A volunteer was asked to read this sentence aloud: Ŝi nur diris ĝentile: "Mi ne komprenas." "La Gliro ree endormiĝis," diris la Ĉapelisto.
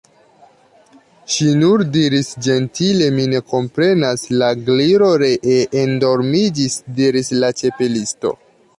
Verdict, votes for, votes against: rejected, 1, 2